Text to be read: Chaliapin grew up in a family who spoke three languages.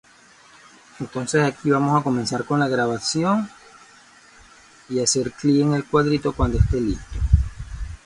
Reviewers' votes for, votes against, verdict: 1, 2, rejected